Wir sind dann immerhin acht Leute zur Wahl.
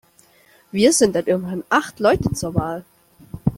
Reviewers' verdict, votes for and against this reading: rejected, 1, 2